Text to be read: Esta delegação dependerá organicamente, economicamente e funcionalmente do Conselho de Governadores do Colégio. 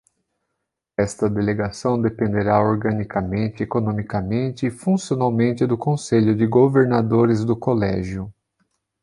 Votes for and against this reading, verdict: 2, 0, accepted